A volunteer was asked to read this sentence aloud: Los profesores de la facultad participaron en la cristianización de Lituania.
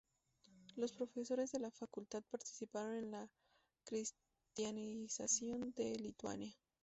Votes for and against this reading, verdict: 0, 2, rejected